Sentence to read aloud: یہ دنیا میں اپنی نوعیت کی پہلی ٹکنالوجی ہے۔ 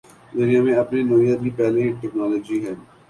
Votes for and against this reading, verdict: 5, 5, rejected